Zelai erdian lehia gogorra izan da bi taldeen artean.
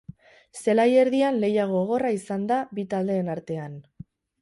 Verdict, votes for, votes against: accepted, 4, 0